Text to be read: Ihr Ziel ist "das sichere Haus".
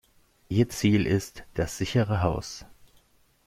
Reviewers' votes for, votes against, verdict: 2, 0, accepted